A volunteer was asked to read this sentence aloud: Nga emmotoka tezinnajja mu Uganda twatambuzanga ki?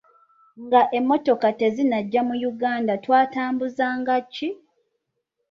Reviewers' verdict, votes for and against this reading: accepted, 2, 0